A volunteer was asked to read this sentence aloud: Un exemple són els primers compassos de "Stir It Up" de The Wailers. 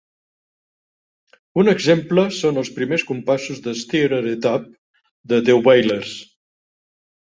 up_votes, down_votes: 3, 0